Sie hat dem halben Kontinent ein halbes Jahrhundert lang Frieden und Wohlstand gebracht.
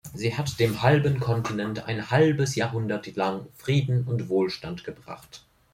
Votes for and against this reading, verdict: 2, 0, accepted